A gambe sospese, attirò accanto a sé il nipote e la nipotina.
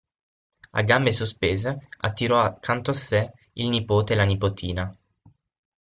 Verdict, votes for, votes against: rejected, 3, 6